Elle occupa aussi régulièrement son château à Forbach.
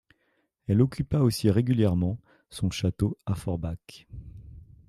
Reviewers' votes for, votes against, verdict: 2, 0, accepted